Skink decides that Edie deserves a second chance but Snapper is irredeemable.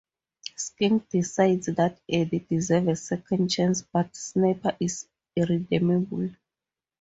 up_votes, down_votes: 2, 0